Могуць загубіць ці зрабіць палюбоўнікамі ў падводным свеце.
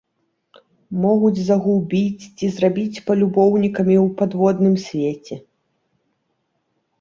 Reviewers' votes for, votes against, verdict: 2, 0, accepted